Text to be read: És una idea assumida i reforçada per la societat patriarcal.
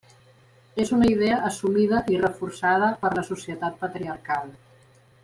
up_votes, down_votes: 2, 0